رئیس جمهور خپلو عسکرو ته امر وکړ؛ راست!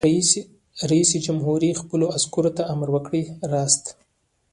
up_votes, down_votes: 1, 2